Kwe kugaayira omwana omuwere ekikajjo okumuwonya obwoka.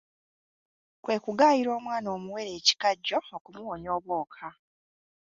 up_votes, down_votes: 2, 0